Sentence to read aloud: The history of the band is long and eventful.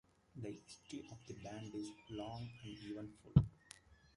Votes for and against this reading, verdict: 0, 2, rejected